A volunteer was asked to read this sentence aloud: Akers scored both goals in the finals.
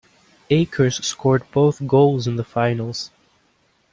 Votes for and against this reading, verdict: 2, 0, accepted